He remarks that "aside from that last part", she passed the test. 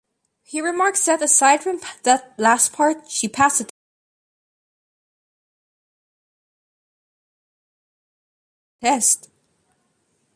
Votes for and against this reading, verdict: 0, 2, rejected